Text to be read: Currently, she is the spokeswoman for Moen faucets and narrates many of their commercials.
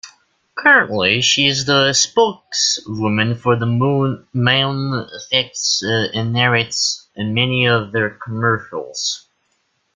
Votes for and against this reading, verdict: 1, 2, rejected